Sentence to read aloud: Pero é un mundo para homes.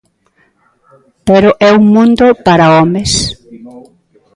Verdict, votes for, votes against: rejected, 0, 2